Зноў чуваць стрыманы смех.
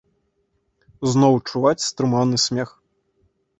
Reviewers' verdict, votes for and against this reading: rejected, 1, 2